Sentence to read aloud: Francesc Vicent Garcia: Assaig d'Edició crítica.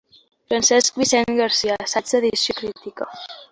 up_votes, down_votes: 1, 3